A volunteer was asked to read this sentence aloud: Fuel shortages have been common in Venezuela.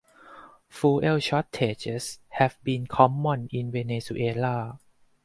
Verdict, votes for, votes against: rejected, 2, 2